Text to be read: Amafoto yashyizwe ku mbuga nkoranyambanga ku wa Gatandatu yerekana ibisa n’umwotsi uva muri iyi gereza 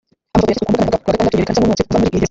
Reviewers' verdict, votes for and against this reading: rejected, 0, 2